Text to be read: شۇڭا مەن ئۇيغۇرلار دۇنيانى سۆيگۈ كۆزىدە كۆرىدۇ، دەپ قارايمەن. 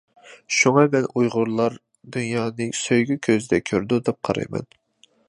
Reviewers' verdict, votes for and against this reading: accepted, 2, 0